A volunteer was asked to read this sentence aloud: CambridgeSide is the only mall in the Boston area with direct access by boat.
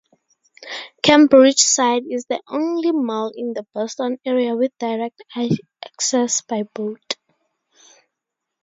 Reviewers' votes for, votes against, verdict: 0, 2, rejected